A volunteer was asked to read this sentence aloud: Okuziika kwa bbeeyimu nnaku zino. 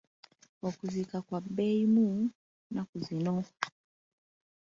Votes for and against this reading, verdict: 3, 2, accepted